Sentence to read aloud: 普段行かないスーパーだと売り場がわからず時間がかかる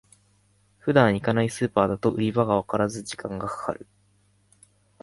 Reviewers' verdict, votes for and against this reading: accepted, 2, 0